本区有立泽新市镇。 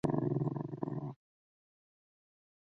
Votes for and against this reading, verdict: 1, 3, rejected